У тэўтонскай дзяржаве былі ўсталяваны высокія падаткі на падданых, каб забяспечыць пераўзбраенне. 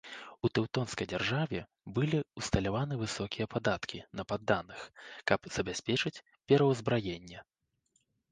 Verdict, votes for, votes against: rejected, 1, 2